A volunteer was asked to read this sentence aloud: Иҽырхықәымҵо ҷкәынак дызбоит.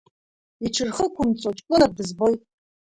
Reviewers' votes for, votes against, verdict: 1, 2, rejected